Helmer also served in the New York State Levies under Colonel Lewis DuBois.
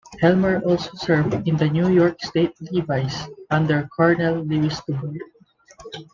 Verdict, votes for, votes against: rejected, 1, 2